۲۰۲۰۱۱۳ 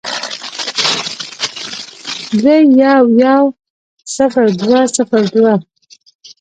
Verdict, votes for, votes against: rejected, 0, 2